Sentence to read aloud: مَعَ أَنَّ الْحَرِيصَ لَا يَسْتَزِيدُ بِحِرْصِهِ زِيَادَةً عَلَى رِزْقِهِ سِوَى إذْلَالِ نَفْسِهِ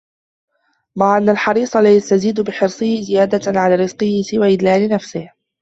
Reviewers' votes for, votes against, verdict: 2, 1, accepted